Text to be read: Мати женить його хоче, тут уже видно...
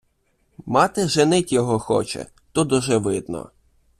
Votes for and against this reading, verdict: 0, 2, rejected